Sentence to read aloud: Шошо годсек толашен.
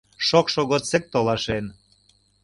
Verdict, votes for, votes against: rejected, 0, 2